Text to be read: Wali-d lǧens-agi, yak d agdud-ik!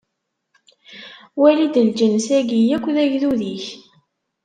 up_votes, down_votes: 0, 2